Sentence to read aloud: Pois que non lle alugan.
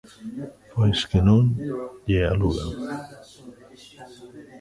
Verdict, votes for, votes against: accepted, 2, 1